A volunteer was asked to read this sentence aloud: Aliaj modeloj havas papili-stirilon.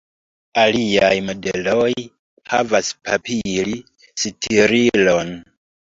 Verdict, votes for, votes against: rejected, 0, 2